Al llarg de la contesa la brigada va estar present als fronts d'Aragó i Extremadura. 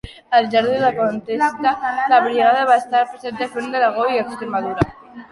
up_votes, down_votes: 0, 2